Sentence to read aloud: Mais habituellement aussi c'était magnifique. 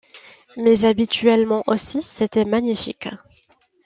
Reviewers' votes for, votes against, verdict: 2, 0, accepted